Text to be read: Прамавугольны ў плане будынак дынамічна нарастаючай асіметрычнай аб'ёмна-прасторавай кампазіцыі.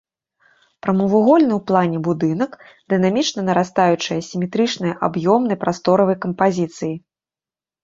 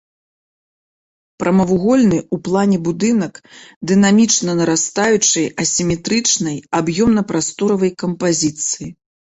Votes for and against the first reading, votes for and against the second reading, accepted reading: 2, 0, 1, 2, first